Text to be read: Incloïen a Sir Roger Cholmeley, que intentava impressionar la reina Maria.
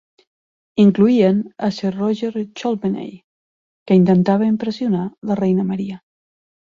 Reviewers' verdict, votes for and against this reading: accepted, 4, 0